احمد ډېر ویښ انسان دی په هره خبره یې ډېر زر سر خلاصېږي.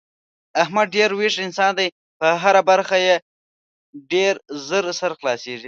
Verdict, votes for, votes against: rejected, 1, 2